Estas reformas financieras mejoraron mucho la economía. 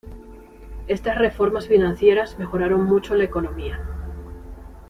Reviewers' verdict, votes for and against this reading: accepted, 2, 0